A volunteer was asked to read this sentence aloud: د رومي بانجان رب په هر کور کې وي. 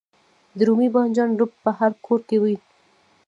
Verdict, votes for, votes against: accepted, 2, 0